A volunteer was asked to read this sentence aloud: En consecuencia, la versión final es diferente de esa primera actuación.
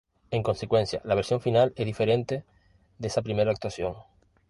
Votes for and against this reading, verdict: 2, 0, accepted